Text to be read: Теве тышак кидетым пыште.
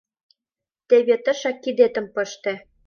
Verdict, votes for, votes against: accepted, 2, 0